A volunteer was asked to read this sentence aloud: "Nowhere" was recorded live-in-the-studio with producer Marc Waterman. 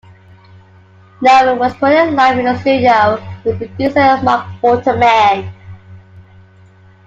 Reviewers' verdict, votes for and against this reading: rejected, 0, 2